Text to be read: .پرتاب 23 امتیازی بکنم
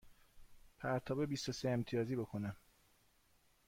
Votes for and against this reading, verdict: 0, 2, rejected